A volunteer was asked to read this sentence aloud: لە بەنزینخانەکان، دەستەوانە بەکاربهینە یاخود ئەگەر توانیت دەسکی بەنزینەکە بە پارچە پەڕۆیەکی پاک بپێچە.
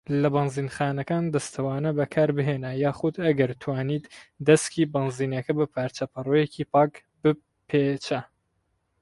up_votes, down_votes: 0, 4